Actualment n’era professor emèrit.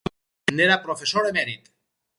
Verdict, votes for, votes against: rejected, 0, 4